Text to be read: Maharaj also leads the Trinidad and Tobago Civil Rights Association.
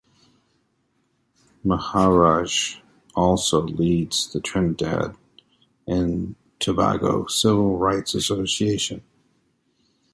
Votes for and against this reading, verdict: 2, 0, accepted